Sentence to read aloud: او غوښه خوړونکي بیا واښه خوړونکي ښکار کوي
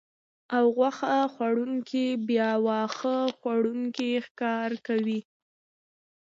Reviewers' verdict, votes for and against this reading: accepted, 2, 0